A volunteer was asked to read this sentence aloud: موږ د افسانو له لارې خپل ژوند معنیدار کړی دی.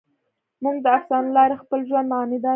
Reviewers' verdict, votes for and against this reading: rejected, 1, 2